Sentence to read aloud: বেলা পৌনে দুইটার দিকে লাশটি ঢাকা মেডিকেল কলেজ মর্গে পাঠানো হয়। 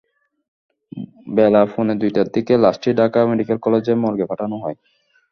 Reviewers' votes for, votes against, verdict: 1, 2, rejected